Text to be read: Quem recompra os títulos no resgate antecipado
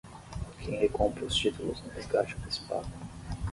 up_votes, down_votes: 6, 3